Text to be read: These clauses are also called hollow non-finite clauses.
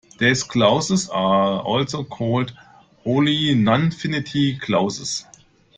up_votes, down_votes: 0, 2